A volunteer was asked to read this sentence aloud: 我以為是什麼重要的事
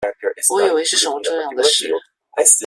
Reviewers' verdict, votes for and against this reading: rejected, 0, 2